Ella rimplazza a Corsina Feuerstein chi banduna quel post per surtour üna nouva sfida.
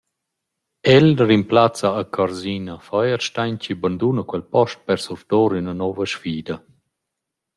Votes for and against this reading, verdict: 0, 2, rejected